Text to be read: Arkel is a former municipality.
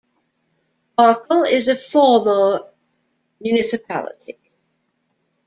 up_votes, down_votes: 0, 2